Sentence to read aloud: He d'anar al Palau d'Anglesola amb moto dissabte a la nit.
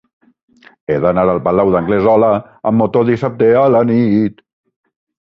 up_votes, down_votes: 1, 2